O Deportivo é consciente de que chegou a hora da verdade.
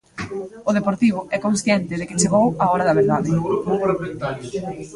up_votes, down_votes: 2, 0